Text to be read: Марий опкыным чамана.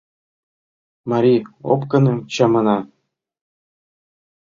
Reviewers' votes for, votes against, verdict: 2, 0, accepted